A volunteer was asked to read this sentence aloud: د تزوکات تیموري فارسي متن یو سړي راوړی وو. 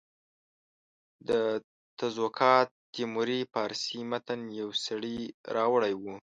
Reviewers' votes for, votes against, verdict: 2, 0, accepted